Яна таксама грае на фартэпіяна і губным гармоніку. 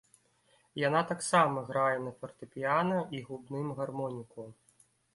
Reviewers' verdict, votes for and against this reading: accepted, 2, 0